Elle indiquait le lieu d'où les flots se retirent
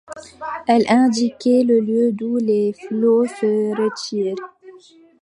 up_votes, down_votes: 1, 2